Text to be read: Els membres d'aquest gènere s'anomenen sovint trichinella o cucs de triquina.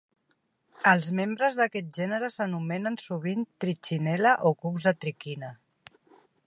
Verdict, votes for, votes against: accepted, 2, 0